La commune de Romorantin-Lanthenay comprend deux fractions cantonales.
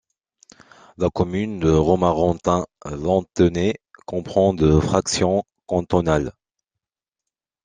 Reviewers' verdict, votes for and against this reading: accepted, 2, 1